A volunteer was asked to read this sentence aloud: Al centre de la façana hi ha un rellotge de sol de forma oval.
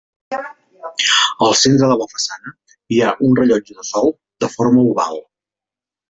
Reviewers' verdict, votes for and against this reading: rejected, 1, 2